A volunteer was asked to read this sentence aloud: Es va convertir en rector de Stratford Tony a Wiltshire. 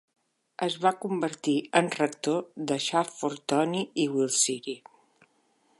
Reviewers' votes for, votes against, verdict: 1, 2, rejected